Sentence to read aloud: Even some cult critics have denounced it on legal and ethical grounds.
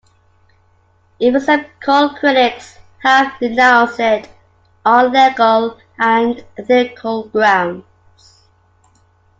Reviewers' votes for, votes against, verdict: 2, 1, accepted